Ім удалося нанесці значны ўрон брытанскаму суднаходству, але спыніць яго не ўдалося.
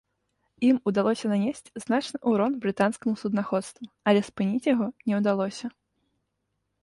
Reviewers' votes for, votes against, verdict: 2, 0, accepted